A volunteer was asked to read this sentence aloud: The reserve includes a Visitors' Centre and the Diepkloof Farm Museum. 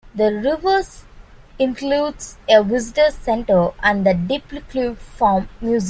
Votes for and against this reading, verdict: 0, 2, rejected